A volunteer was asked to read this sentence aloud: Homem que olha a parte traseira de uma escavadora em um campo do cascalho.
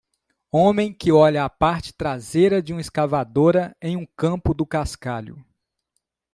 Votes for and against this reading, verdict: 2, 0, accepted